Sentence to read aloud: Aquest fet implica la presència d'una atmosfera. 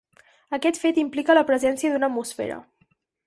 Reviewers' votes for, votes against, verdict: 4, 2, accepted